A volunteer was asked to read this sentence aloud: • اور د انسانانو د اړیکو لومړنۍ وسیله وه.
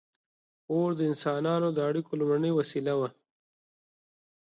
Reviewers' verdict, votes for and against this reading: accepted, 8, 0